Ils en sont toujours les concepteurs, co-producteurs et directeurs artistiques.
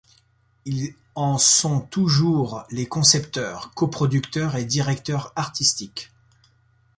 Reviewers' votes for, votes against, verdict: 1, 2, rejected